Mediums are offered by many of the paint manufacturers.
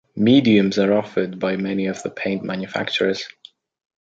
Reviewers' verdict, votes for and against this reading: accepted, 2, 1